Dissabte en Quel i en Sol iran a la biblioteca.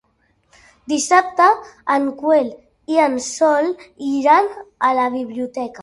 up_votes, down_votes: 0, 2